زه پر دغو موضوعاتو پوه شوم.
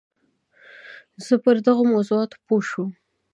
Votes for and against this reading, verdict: 0, 2, rejected